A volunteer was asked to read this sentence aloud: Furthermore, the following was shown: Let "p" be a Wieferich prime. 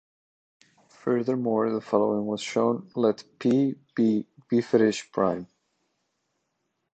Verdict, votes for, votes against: accepted, 2, 0